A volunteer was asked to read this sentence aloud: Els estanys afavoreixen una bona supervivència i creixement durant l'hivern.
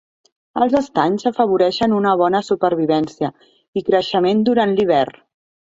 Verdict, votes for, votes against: accepted, 2, 1